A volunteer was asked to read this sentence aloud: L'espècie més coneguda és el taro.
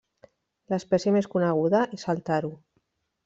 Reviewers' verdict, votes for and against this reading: accepted, 3, 1